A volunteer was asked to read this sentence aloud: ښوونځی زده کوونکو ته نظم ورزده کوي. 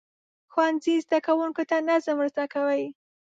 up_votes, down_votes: 1, 2